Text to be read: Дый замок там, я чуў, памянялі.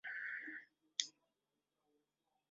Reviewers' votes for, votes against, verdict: 0, 2, rejected